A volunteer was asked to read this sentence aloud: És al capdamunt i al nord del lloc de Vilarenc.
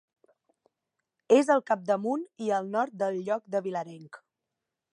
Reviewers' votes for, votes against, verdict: 2, 1, accepted